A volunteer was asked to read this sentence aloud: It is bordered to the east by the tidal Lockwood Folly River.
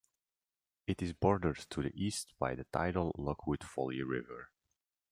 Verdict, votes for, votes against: accepted, 2, 0